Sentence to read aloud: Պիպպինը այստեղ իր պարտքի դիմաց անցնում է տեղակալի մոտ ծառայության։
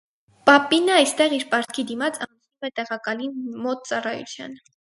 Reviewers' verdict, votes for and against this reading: rejected, 0, 4